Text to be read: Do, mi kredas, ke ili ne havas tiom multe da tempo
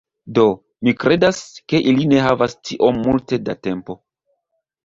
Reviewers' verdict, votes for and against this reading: accepted, 2, 0